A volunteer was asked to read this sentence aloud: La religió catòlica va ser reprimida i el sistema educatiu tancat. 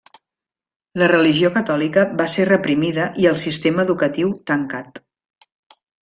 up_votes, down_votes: 3, 0